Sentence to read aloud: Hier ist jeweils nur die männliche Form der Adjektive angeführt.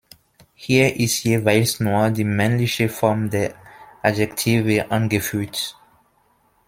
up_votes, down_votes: 1, 2